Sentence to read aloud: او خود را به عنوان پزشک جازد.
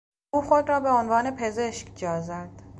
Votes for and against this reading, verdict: 2, 0, accepted